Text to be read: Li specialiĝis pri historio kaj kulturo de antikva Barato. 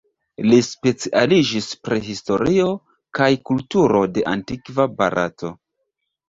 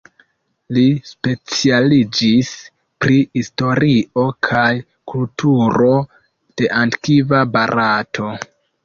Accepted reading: second